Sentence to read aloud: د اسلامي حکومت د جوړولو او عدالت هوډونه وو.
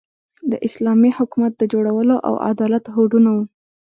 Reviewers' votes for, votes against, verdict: 1, 2, rejected